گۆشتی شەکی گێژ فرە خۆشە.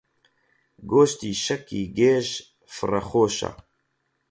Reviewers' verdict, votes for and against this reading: rejected, 4, 4